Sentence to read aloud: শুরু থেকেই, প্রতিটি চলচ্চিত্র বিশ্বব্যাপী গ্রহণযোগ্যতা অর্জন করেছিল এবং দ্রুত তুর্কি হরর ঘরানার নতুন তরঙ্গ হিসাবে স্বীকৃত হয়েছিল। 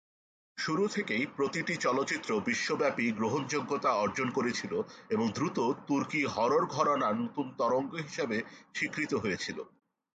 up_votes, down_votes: 2, 0